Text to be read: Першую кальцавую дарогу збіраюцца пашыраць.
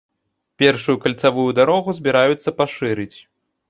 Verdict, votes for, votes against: rejected, 0, 2